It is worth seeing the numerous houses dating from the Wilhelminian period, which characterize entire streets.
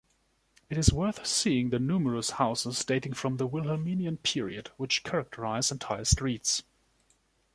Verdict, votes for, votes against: accepted, 2, 0